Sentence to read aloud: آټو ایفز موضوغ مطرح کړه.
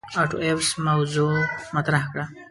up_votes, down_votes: 0, 2